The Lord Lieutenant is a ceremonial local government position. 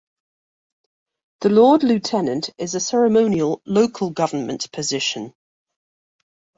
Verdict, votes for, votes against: accepted, 2, 0